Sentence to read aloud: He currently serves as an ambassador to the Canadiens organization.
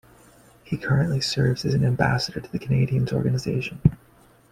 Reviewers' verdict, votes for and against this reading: accepted, 2, 0